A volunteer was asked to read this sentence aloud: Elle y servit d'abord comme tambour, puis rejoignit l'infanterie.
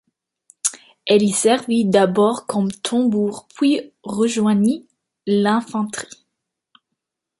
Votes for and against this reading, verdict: 2, 1, accepted